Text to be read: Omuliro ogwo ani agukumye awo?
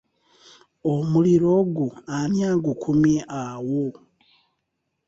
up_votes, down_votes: 2, 0